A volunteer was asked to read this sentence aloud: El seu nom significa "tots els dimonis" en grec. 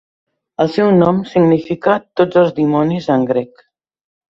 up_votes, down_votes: 3, 0